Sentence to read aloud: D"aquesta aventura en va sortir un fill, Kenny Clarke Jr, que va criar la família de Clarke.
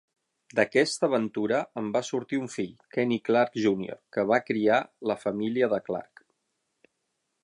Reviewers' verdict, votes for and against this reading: accepted, 6, 0